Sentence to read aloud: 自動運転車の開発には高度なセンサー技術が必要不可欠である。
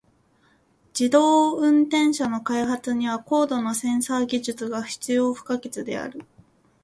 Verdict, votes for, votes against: accepted, 2, 0